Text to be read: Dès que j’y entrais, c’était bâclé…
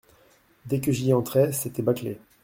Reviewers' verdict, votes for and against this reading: accepted, 2, 0